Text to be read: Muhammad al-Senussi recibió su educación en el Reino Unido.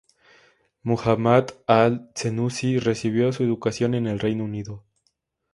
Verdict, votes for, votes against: rejected, 0, 2